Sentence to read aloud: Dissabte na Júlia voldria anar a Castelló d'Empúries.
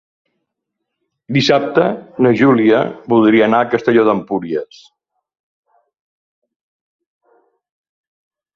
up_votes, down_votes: 2, 0